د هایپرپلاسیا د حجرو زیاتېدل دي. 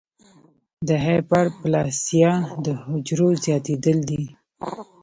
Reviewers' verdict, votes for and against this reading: accepted, 2, 1